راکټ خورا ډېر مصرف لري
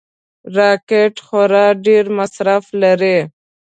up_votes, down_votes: 2, 0